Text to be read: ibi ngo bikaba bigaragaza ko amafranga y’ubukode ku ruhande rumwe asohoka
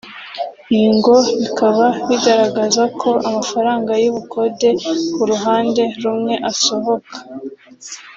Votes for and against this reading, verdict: 2, 0, accepted